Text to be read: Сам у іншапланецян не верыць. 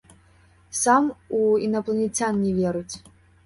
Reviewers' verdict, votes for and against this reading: rejected, 0, 2